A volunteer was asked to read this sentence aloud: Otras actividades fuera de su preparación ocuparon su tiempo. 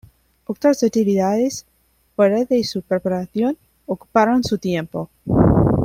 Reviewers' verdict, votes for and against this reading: accepted, 2, 0